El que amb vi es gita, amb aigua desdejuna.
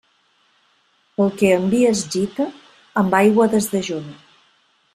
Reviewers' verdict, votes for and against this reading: accepted, 2, 0